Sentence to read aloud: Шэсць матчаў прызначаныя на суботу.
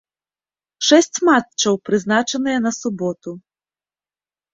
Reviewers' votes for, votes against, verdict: 2, 0, accepted